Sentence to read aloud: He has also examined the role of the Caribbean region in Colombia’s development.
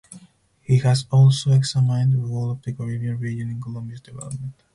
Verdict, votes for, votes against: rejected, 2, 2